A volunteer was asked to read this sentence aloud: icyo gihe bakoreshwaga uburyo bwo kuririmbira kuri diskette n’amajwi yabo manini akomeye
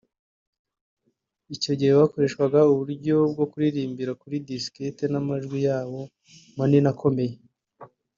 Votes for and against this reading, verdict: 2, 0, accepted